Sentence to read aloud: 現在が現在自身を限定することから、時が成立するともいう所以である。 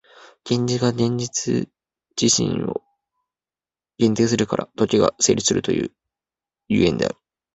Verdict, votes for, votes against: rejected, 1, 2